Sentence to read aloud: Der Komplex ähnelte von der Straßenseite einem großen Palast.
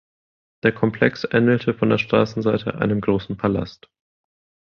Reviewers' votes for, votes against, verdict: 2, 0, accepted